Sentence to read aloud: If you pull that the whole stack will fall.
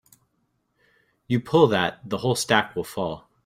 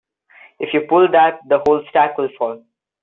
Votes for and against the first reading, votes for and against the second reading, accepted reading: 0, 2, 2, 0, second